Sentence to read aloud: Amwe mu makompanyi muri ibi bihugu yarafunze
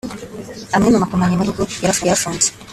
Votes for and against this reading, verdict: 1, 2, rejected